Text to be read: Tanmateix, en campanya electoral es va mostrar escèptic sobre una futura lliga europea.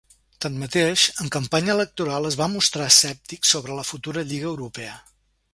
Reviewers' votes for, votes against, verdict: 1, 2, rejected